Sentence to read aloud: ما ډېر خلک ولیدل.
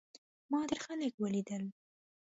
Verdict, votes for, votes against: accepted, 2, 0